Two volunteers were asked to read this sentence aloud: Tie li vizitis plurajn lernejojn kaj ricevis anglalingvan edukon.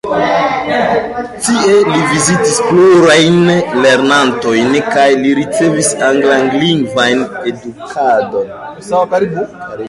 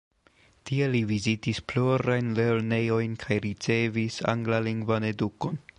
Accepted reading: second